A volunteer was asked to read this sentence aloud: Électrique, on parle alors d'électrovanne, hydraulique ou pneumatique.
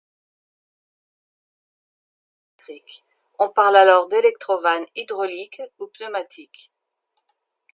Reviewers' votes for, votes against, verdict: 1, 2, rejected